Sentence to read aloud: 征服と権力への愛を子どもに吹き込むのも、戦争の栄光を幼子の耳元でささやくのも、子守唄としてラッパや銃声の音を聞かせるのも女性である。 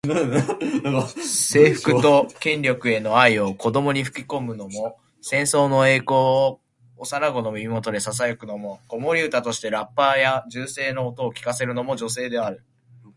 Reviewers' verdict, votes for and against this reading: rejected, 1, 2